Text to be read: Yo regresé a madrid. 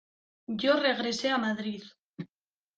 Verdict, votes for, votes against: accepted, 2, 0